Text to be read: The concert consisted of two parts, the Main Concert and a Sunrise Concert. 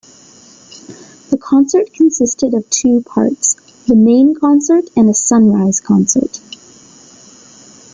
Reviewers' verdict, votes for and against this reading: accepted, 3, 0